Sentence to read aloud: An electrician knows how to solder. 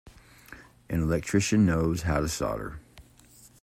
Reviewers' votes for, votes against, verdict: 2, 0, accepted